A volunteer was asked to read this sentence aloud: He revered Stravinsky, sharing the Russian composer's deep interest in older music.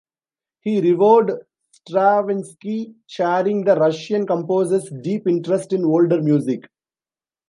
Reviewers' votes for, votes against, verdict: 1, 3, rejected